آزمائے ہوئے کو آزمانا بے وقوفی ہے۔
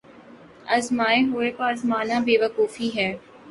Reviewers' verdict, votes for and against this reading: accepted, 2, 0